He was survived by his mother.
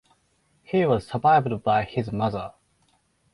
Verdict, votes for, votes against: accepted, 4, 0